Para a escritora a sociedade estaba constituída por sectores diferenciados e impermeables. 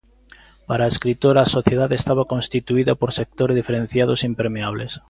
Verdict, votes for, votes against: accepted, 2, 1